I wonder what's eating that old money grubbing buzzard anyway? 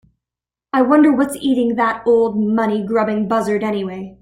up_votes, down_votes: 2, 0